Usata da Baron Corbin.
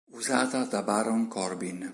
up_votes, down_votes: 4, 0